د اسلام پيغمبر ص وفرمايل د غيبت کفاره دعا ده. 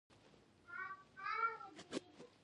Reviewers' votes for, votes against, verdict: 0, 2, rejected